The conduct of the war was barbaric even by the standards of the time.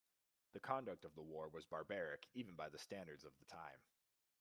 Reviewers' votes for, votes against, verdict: 2, 0, accepted